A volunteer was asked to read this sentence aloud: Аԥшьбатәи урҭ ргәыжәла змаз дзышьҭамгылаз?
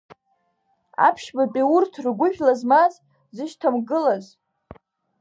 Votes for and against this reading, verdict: 2, 0, accepted